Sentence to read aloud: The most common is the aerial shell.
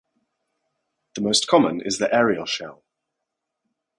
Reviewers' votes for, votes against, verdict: 4, 0, accepted